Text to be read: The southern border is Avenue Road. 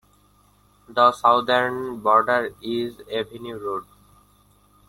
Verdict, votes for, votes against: rejected, 1, 2